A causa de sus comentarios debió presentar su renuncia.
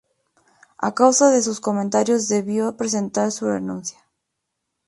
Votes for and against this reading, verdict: 2, 0, accepted